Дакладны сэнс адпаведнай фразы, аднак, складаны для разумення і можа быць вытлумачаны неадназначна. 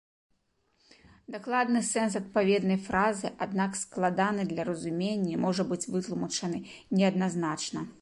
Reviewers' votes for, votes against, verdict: 3, 0, accepted